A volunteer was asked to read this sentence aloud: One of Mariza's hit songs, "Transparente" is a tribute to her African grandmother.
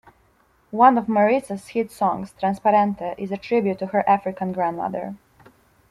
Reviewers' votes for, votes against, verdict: 2, 0, accepted